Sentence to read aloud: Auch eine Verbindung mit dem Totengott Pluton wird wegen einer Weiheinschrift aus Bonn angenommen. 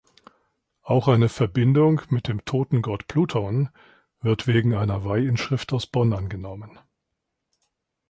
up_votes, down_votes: 1, 2